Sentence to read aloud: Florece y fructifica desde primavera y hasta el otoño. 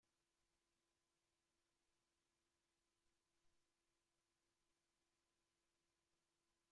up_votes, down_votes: 0, 2